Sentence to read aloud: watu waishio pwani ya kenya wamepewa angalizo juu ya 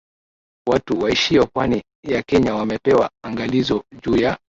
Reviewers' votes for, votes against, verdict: 2, 0, accepted